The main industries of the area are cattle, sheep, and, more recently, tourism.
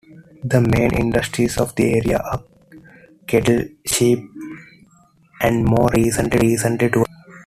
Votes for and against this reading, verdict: 2, 1, accepted